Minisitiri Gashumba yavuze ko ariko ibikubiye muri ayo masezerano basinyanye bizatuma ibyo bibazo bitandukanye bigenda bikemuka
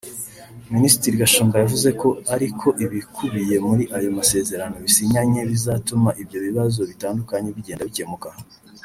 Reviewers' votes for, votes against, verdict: 0, 2, rejected